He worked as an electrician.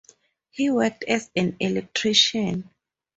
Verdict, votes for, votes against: accepted, 4, 0